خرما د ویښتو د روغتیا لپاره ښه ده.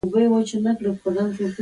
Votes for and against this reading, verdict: 2, 0, accepted